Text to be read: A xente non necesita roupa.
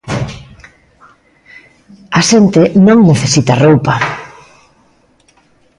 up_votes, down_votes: 2, 0